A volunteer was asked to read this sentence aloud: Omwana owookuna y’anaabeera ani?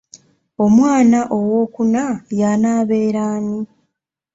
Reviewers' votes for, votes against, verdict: 2, 1, accepted